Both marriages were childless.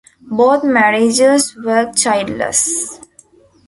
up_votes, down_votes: 2, 0